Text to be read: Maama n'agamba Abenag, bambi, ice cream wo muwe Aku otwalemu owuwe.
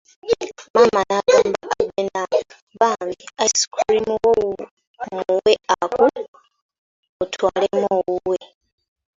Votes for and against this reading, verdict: 1, 2, rejected